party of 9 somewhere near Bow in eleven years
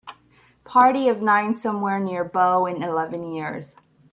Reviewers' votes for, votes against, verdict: 0, 2, rejected